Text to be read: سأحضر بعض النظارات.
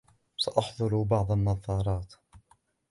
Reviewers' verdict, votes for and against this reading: accepted, 2, 1